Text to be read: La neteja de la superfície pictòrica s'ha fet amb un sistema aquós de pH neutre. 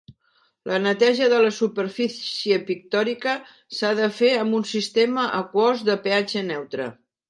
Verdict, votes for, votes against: rejected, 0, 2